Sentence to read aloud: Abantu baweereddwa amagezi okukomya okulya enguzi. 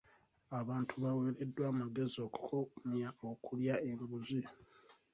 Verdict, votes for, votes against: rejected, 2, 3